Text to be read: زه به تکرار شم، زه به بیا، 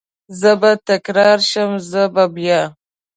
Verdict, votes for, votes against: accepted, 2, 0